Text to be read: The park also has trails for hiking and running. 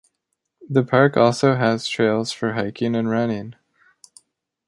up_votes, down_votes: 2, 0